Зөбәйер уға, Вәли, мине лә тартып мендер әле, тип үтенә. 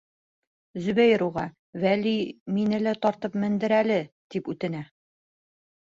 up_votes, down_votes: 2, 0